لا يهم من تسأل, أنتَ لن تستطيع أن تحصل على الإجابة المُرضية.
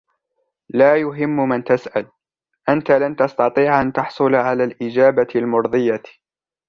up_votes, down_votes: 2, 0